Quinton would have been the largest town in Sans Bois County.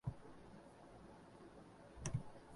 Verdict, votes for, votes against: rejected, 0, 2